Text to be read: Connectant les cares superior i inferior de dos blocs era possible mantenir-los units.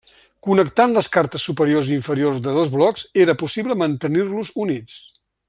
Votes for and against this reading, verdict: 0, 2, rejected